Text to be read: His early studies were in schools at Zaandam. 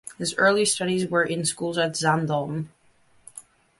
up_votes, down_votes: 2, 0